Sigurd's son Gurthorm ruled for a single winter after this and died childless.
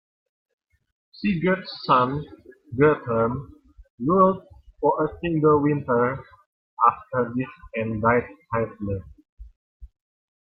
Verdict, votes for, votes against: rejected, 0, 2